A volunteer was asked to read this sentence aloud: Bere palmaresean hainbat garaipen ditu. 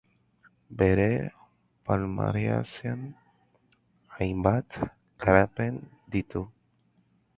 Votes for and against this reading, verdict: 0, 2, rejected